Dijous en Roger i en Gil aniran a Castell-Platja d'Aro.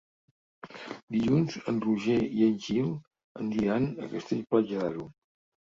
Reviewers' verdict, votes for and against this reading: rejected, 0, 3